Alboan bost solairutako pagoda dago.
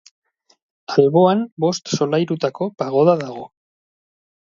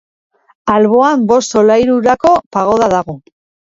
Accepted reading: first